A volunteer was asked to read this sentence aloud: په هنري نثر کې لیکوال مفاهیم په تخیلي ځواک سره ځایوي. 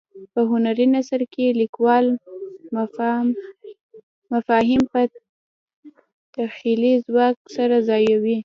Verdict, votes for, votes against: rejected, 0, 2